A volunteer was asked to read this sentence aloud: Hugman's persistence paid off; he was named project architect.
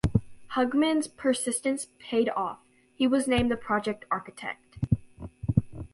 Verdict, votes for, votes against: rejected, 2, 5